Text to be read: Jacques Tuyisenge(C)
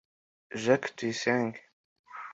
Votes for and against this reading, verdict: 2, 0, accepted